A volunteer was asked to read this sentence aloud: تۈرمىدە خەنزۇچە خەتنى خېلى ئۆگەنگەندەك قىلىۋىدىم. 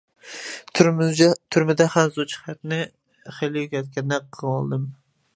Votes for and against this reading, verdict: 0, 2, rejected